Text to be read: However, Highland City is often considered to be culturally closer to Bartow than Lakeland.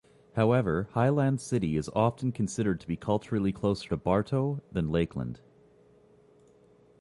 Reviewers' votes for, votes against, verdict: 3, 0, accepted